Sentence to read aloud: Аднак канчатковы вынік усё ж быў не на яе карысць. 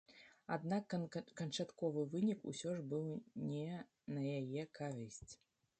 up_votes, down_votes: 1, 2